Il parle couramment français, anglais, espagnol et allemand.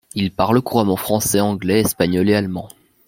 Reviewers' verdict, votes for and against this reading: accepted, 2, 0